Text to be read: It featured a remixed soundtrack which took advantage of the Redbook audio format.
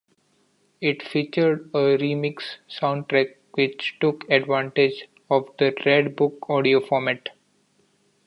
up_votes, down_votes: 2, 1